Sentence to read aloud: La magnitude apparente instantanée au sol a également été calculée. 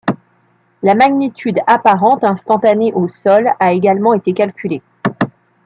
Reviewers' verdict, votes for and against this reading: rejected, 0, 2